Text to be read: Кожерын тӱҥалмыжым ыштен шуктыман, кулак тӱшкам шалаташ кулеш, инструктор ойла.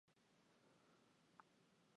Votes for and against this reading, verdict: 0, 2, rejected